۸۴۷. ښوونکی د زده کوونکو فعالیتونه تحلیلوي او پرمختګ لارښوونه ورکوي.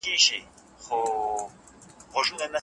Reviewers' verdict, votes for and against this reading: rejected, 0, 2